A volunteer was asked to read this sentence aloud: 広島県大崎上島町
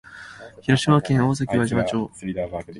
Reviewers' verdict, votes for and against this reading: rejected, 1, 2